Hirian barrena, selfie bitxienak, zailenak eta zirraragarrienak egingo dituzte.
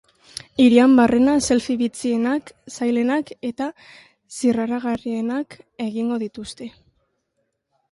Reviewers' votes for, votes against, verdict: 0, 2, rejected